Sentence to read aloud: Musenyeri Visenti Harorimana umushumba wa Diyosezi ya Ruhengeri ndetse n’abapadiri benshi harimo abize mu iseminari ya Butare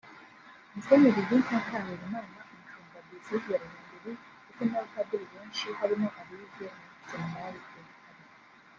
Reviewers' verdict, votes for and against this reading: rejected, 0, 2